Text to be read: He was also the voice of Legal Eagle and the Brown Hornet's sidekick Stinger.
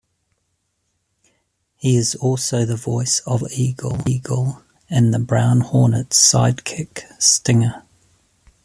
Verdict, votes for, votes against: rejected, 1, 2